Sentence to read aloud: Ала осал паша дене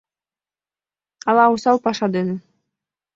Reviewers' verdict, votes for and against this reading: accepted, 2, 0